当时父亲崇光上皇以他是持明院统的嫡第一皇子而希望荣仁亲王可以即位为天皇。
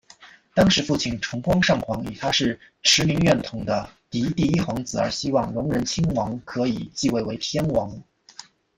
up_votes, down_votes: 0, 2